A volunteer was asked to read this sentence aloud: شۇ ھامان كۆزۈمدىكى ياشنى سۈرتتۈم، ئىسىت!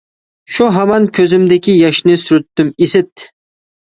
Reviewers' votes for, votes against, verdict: 2, 0, accepted